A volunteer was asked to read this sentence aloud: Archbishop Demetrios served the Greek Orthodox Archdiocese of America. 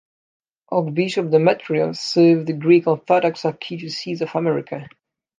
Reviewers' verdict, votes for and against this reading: accepted, 2, 0